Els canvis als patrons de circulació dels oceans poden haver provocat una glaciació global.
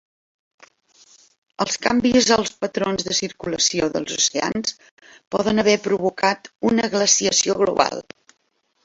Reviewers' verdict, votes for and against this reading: accepted, 2, 1